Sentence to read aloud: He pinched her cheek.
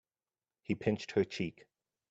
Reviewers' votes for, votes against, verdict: 2, 0, accepted